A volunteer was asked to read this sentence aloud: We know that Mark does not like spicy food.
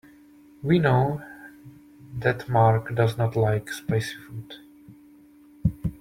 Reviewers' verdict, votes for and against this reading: accepted, 2, 0